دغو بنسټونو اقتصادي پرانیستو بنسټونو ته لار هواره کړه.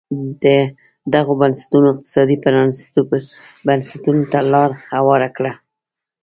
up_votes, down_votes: 2, 0